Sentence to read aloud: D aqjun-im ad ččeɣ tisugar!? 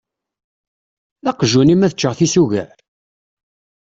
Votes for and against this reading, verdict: 2, 0, accepted